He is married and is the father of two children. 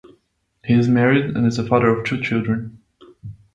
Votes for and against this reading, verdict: 2, 0, accepted